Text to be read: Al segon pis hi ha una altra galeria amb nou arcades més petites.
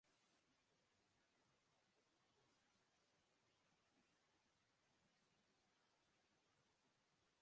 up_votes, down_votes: 1, 2